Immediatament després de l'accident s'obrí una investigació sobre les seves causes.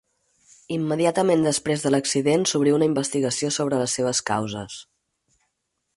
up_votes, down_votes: 4, 0